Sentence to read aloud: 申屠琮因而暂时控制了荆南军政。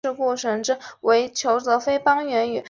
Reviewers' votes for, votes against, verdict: 0, 3, rejected